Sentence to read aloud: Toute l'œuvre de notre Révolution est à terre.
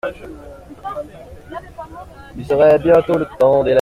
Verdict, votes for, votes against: rejected, 0, 2